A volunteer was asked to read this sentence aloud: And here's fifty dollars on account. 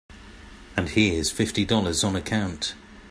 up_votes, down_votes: 3, 0